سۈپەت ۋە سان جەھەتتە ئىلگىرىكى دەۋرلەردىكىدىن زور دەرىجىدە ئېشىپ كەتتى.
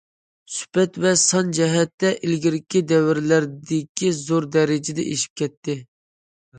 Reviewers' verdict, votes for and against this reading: rejected, 0, 2